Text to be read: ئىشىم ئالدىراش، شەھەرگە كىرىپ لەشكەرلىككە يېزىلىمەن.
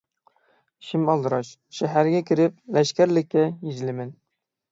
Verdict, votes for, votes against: accepted, 6, 0